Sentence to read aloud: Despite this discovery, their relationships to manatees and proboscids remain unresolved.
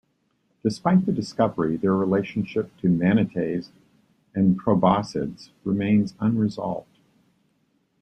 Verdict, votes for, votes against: rejected, 0, 2